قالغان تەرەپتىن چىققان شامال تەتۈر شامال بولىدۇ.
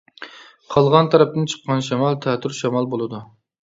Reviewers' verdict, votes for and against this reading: accepted, 2, 0